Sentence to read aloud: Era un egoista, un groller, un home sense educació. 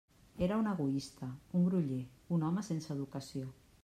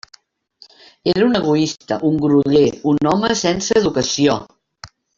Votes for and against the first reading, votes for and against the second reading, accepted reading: 2, 0, 1, 2, first